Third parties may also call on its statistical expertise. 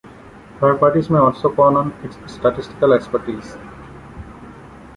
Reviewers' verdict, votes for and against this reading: rejected, 0, 2